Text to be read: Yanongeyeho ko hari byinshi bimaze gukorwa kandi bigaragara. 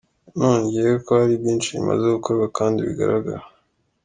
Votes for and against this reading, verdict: 2, 0, accepted